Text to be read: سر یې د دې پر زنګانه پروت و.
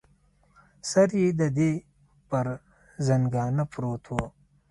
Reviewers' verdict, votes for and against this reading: rejected, 1, 2